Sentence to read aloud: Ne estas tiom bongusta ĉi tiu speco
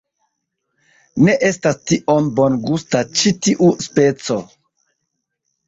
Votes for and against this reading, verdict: 1, 2, rejected